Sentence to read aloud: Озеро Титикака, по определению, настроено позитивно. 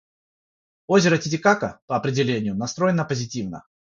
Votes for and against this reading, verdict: 6, 0, accepted